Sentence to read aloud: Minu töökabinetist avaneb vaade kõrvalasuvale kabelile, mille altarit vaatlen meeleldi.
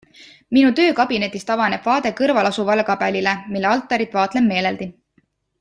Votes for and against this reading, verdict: 2, 0, accepted